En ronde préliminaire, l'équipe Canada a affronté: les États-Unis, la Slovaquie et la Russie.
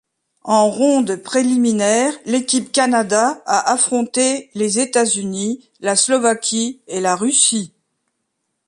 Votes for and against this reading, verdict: 2, 0, accepted